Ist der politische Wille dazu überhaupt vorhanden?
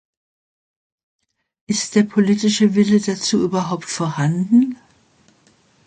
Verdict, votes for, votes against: accepted, 3, 0